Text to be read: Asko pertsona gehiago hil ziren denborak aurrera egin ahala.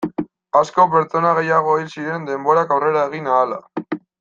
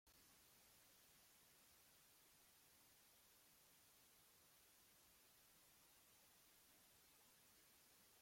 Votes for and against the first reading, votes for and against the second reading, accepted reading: 2, 0, 0, 2, first